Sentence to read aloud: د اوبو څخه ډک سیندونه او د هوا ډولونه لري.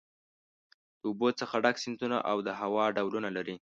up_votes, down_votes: 2, 0